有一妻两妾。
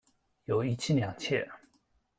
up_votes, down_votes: 2, 0